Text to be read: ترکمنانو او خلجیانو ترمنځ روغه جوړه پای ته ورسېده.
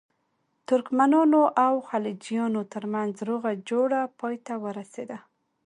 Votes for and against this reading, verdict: 2, 0, accepted